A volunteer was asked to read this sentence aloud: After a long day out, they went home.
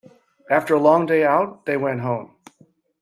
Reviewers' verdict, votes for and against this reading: accepted, 2, 0